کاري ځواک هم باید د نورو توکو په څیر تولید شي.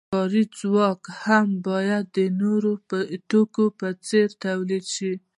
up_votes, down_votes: 2, 0